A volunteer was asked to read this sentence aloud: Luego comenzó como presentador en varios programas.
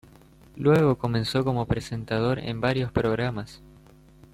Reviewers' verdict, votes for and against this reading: accepted, 3, 0